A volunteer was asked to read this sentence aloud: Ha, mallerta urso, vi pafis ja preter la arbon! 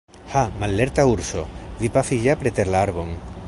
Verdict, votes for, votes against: rejected, 0, 2